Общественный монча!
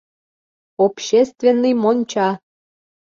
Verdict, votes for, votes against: accepted, 3, 0